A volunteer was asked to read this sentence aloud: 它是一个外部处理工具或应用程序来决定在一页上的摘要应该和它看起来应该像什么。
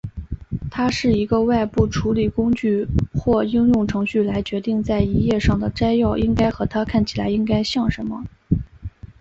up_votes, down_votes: 2, 0